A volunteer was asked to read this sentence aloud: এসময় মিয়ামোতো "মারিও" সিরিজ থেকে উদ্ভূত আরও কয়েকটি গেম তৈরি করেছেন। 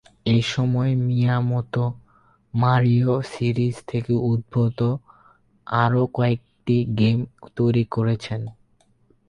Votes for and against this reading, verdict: 8, 12, rejected